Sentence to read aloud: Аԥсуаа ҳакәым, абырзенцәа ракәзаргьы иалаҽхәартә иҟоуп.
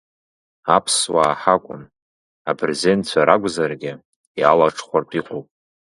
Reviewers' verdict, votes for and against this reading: accepted, 2, 0